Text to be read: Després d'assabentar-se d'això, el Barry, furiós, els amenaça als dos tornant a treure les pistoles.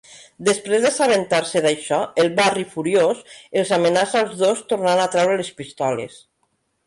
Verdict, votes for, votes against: accepted, 2, 0